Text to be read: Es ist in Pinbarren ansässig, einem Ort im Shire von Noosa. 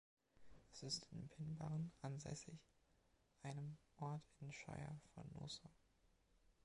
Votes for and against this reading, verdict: 2, 0, accepted